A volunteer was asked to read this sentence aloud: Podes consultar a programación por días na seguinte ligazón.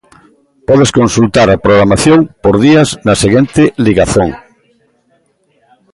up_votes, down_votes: 1, 2